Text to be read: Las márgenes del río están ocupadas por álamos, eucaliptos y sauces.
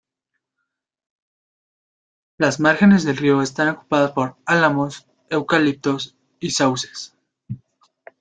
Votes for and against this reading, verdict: 2, 1, accepted